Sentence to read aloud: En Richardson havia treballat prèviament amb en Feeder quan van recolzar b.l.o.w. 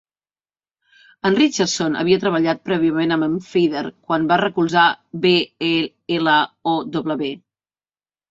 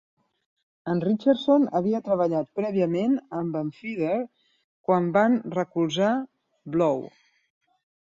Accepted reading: second